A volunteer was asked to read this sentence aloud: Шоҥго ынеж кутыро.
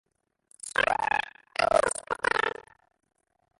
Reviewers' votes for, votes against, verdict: 0, 2, rejected